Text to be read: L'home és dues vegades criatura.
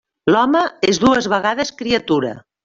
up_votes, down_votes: 3, 0